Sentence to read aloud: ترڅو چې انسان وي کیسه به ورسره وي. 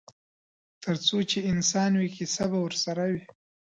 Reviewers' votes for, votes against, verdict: 2, 0, accepted